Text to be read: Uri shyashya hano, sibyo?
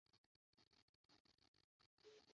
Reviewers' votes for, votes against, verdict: 0, 2, rejected